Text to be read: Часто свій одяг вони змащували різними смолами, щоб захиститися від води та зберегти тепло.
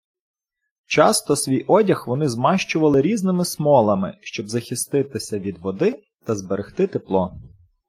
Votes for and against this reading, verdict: 2, 0, accepted